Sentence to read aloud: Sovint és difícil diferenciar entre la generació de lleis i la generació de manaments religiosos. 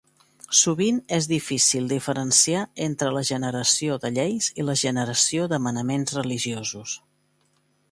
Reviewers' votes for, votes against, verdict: 2, 0, accepted